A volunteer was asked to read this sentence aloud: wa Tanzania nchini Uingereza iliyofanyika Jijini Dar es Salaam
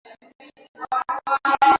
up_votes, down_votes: 0, 2